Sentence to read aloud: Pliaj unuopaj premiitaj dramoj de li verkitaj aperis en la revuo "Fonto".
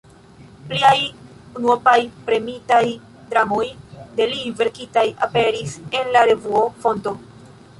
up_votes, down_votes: 0, 2